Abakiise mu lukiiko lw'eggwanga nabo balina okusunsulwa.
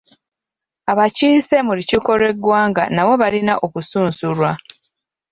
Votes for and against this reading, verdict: 0, 2, rejected